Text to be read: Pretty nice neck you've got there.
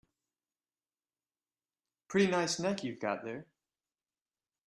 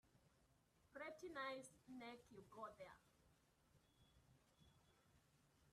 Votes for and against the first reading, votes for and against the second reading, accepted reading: 2, 0, 1, 2, first